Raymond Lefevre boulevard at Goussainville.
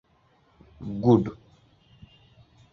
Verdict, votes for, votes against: rejected, 0, 2